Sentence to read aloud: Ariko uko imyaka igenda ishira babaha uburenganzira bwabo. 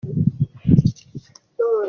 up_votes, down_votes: 0, 2